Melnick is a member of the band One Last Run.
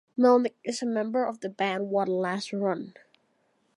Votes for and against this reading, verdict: 2, 0, accepted